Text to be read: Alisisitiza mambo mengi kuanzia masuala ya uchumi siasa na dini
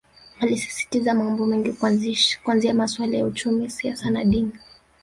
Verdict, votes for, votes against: rejected, 0, 2